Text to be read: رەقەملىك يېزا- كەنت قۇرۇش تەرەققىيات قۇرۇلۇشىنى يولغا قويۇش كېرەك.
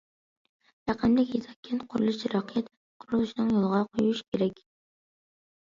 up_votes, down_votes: 0, 2